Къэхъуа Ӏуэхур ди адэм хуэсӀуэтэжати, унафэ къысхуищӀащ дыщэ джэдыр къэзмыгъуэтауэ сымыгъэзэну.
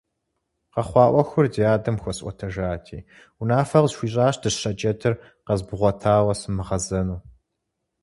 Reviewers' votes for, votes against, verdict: 4, 0, accepted